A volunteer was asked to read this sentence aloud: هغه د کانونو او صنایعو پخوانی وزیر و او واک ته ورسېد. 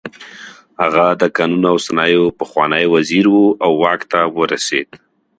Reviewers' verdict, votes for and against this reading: accepted, 2, 0